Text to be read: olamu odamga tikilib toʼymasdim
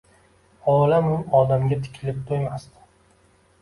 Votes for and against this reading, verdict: 2, 1, accepted